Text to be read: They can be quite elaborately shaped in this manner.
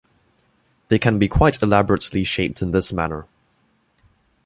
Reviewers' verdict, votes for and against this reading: rejected, 0, 2